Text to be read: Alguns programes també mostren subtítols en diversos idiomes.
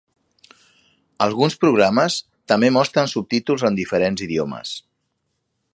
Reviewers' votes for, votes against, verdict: 0, 2, rejected